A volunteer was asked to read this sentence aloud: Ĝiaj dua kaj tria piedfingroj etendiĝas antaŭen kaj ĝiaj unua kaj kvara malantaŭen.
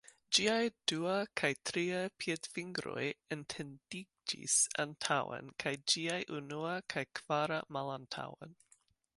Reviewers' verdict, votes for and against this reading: rejected, 0, 2